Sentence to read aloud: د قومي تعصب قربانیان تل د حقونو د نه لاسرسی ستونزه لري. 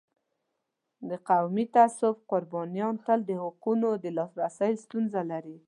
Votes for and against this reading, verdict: 2, 0, accepted